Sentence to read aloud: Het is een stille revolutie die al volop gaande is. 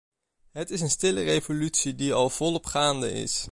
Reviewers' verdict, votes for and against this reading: accepted, 2, 0